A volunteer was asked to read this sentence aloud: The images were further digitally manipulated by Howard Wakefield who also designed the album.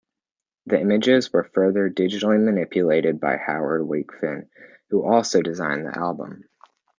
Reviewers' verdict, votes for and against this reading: rejected, 0, 2